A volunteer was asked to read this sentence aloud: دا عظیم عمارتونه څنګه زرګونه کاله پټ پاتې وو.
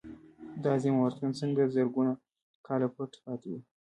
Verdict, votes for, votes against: rejected, 1, 2